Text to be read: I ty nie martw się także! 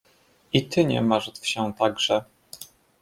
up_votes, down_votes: 2, 0